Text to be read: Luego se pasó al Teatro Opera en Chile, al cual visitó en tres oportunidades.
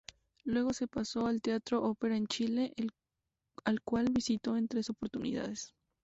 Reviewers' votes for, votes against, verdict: 0, 4, rejected